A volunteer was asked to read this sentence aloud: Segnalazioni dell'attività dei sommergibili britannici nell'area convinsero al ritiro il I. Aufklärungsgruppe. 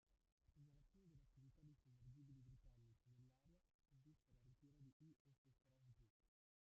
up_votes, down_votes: 1, 2